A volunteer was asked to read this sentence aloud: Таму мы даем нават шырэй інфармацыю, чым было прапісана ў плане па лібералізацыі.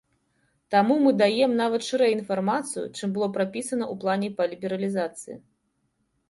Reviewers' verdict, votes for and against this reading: accepted, 2, 0